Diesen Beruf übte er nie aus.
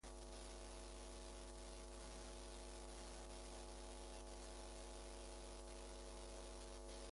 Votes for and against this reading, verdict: 0, 2, rejected